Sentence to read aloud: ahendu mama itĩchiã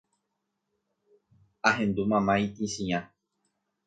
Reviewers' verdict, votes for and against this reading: accepted, 2, 0